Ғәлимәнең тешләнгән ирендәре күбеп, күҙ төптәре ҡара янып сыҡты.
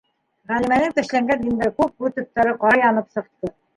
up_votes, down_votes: 1, 2